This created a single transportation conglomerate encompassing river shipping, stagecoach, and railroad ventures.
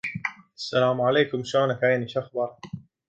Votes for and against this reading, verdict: 1, 2, rejected